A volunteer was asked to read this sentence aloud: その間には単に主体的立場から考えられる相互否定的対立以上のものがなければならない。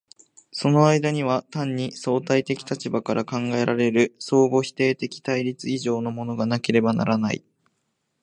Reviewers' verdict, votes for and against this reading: accepted, 2, 1